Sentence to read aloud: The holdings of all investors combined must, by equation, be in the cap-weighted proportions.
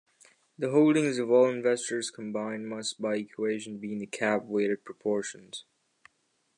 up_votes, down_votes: 2, 0